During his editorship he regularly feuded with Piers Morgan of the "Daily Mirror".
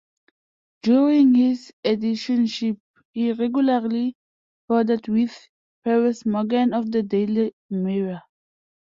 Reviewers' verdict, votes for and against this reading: rejected, 0, 2